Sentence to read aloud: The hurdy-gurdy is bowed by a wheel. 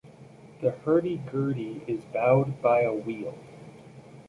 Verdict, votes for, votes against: rejected, 0, 2